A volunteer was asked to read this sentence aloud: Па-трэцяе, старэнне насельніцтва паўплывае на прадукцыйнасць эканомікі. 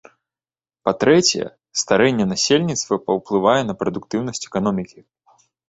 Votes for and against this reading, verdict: 0, 2, rejected